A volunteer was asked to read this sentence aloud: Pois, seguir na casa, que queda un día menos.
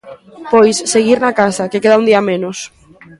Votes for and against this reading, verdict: 2, 1, accepted